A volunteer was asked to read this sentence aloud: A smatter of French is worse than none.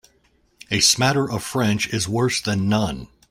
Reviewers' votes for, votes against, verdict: 2, 0, accepted